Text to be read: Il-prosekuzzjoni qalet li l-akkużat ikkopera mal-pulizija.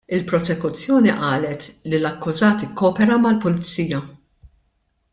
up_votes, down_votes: 2, 0